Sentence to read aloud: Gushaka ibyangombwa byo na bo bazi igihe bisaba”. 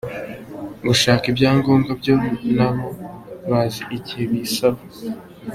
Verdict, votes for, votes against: accepted, 2, 1